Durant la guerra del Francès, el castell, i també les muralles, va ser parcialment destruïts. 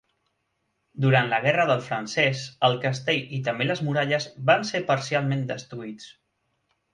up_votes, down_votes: 1, 2